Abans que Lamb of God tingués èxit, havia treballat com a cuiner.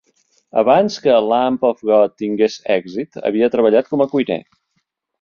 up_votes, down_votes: 2, 0